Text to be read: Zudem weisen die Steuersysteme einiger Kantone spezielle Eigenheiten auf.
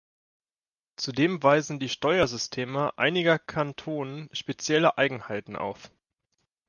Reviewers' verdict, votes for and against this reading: rejected, 0, 2